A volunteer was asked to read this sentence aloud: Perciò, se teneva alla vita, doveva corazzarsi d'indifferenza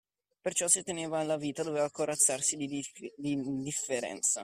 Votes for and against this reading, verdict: 0, 2, rejected